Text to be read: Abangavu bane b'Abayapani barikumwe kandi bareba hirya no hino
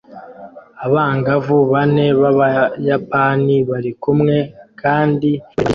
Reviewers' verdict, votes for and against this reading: rejected, 0, 2